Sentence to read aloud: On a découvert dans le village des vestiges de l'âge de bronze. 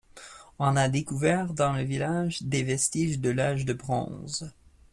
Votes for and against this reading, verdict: 0, 2, rejected